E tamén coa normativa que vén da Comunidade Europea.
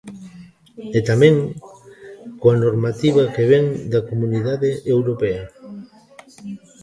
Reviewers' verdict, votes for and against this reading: rejected, 1, 2